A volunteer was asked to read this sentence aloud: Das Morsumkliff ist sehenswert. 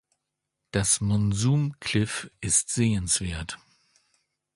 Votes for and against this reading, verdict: 1, 2, rejected